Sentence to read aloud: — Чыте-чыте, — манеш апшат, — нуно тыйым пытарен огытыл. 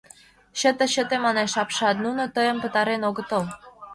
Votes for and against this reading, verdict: 2, 0, accepted